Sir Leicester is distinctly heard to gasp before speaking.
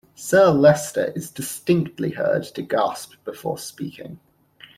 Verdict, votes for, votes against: accepted, 2, 0